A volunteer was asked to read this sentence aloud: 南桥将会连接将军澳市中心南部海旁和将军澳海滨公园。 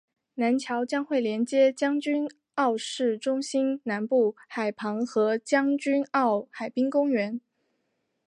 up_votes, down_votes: 5, 0